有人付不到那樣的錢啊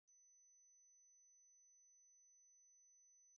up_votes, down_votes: 0, 2